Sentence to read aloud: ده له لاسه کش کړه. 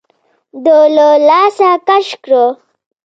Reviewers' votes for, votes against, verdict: 2, 1, accepted